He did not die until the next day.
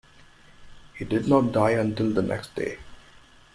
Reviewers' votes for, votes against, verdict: 2, 0, accepted